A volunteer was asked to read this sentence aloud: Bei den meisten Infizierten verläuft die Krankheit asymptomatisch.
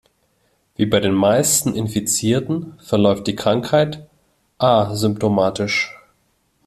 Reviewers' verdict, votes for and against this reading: rejected, 1, 3